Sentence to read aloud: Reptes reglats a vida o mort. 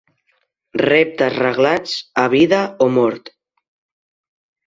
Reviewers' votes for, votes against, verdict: 2, 0, accepted